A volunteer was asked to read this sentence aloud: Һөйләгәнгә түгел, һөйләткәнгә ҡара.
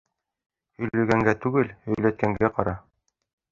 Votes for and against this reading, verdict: 1, 2, rejected